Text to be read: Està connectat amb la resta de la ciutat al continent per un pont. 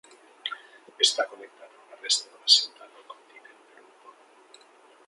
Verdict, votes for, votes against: rejected, 0, 2